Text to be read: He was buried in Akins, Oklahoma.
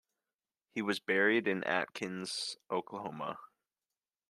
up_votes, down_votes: 2, 0